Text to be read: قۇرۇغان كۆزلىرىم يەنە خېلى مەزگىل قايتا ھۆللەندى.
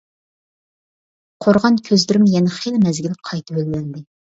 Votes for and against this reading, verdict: 0, 2, rejected